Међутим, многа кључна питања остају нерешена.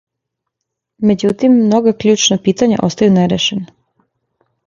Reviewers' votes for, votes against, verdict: 2, 0, accepted